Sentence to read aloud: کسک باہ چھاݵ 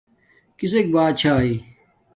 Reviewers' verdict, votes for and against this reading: accepted, 2, 0